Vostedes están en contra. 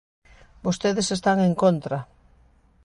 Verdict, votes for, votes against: accepted, 2, 0